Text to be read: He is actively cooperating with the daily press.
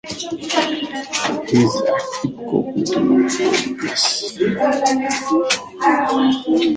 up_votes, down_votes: 0, 2